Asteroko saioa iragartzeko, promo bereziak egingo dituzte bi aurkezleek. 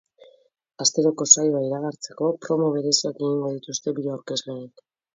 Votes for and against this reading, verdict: 2, 0, accepted